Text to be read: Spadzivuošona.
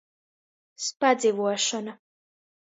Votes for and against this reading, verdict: 2, 0, accepted